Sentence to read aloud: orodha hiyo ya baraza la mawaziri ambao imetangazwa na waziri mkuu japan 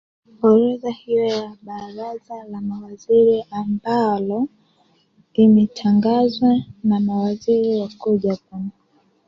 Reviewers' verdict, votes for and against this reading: rejected, 0, 3